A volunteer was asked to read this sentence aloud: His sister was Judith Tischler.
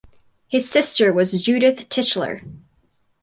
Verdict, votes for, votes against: accepted, 4, 0